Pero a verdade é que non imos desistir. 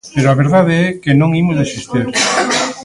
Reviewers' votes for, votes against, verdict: 2, 0, accepted